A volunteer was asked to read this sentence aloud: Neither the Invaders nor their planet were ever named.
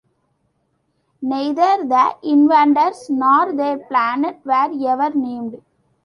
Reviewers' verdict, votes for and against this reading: rejected, 1, 2